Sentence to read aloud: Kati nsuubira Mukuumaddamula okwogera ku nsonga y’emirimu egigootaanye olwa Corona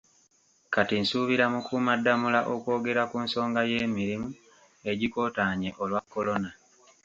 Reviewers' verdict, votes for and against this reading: accepted, 2, 0